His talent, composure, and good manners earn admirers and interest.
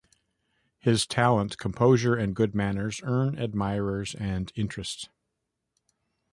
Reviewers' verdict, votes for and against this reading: accepted, 2, 1